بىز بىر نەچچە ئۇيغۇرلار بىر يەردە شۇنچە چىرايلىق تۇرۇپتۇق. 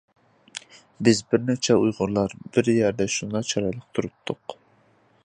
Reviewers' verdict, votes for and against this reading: rejected, 1, 2